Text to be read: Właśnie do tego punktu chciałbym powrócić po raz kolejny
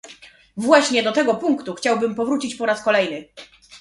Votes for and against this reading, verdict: 2, 0, accepted